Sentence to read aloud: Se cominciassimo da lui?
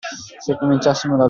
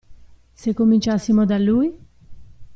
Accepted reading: second